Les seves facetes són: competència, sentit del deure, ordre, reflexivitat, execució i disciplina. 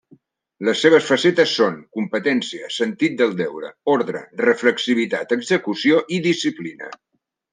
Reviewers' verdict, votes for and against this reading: accepted, 3, 0